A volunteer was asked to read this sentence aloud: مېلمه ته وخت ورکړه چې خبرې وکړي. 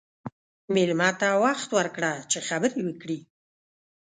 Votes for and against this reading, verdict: 2, 0, accepted